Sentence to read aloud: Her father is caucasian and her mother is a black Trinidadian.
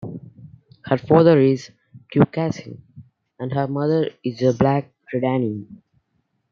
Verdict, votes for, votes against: rejected, 1, 2